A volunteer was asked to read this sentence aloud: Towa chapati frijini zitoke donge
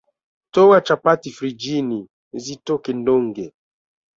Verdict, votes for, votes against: rejected, 1, 2